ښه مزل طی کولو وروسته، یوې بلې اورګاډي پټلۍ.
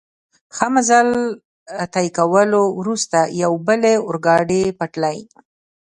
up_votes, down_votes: 1, 2